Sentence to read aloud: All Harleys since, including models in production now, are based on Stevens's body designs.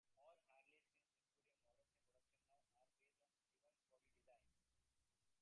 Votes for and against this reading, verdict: 1, 2, rejected